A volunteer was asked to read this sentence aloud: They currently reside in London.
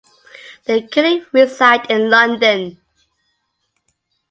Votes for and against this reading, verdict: 0, 2, rejected